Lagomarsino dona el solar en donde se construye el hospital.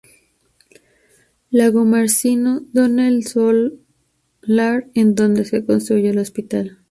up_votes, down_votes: 0, 2